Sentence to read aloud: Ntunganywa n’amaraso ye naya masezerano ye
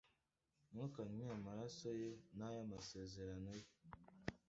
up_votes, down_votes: 1, 2